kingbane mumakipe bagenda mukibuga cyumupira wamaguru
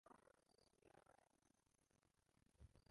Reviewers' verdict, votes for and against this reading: rejected, 0, 2